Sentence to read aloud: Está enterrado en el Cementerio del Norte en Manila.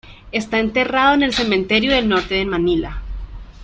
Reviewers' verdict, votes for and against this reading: rejected, 1, 2